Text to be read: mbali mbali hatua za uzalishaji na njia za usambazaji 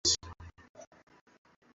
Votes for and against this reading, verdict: 0, 2, rejected